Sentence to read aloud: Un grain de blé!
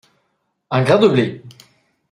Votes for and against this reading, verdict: 2, 0, accepted